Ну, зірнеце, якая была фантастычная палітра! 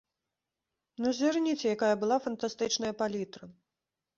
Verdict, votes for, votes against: rejected, 1, 2